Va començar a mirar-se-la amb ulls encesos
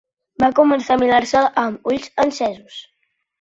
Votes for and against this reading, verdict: 2, 1, accepted